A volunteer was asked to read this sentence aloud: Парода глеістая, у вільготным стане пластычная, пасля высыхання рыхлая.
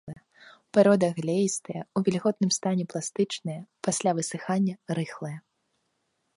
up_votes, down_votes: 2, 0